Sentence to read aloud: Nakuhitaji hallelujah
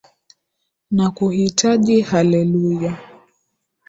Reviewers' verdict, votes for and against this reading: accepted, 2, 0